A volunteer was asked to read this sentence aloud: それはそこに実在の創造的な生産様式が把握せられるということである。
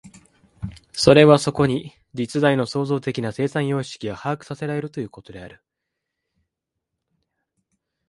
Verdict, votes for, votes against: rejected, 0, 3